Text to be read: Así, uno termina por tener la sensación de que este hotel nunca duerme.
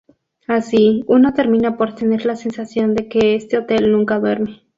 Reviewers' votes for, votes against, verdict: 2, 0, accepted